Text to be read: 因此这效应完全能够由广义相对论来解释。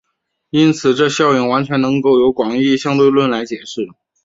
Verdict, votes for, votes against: rejected, 0, 2